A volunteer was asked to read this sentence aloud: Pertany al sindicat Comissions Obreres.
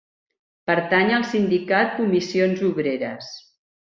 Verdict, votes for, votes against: accepted, 3, 1